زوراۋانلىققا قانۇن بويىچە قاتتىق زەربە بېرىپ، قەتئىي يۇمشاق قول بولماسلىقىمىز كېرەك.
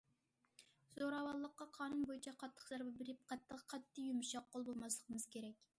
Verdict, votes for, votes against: rejected, 0, 2